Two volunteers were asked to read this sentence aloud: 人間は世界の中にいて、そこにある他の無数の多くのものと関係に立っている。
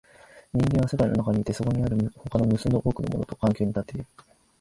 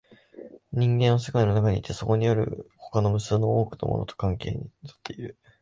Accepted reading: second